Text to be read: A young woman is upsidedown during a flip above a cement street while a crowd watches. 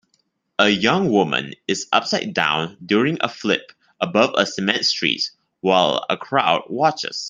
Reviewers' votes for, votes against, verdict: 2, 0, accepted